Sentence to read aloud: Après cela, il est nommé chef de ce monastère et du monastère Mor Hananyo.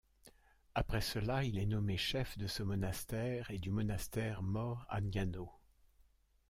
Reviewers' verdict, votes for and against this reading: rejected, 1, 2